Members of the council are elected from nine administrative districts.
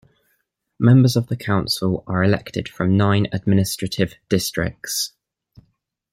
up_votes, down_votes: 2, 0